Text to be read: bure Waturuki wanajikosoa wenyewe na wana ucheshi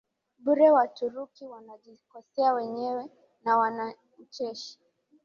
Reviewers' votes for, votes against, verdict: 10, 1, accepted